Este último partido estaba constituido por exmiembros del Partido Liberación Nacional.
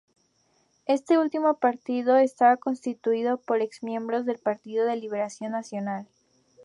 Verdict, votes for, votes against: rejected, 0, 2